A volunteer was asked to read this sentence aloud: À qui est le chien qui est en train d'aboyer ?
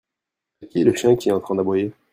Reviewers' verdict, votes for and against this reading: rejected, 0, 2